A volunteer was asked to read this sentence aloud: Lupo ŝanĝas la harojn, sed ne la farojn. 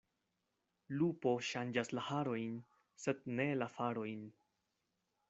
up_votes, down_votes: 2, 0